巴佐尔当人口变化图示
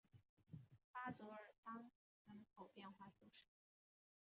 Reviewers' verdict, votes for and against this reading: rejected, 0, 2